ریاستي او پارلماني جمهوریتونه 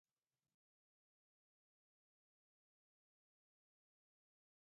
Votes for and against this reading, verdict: 1, 2, rejected